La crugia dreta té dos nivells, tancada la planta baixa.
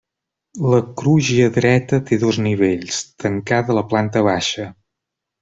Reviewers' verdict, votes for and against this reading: rejected, 1, 2